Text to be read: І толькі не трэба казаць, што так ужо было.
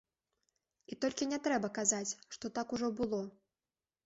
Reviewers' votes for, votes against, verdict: 2, 0, accepted